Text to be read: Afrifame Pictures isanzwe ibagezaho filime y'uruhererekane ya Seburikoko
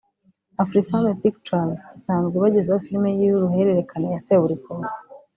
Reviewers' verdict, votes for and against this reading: rejected, 1, 2